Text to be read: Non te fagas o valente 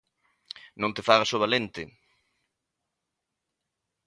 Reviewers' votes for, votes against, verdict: 2, 0, accepted